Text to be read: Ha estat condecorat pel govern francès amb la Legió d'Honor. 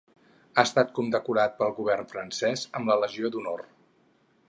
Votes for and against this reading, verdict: 6, 0, accepted